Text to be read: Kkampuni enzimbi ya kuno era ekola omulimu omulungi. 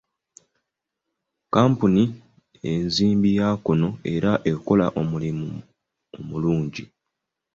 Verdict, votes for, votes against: accepted, 2, 0